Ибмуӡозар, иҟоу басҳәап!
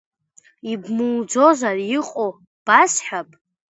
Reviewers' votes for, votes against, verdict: 2, 0, accepted